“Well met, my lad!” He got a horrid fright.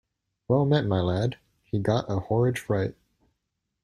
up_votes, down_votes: 2, 0